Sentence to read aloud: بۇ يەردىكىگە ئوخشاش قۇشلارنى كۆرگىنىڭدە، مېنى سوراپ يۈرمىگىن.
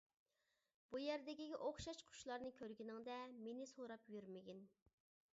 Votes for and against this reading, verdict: 2, 0, accepted